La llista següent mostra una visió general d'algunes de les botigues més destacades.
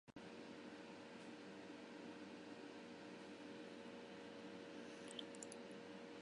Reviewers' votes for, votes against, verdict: 0, 2, rejected